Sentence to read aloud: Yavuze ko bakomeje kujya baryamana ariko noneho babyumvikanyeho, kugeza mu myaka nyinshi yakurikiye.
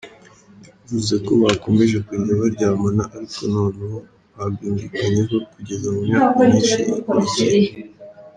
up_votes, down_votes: 0, 2